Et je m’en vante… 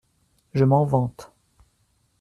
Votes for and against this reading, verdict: 0, 2, rejected